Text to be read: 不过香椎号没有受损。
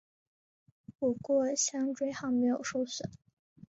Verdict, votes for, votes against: rejected, 0, 3